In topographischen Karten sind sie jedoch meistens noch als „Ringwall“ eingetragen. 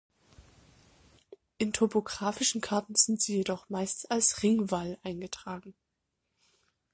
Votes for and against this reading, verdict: 1, 2, rejected